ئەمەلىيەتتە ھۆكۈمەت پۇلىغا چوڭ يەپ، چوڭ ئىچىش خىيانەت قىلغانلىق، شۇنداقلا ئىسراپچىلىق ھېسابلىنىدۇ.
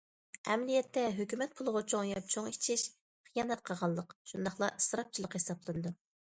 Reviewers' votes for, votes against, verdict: 2, 1, accepted